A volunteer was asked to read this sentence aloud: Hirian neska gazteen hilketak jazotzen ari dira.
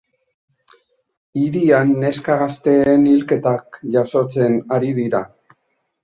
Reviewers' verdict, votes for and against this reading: accepted, 2, 0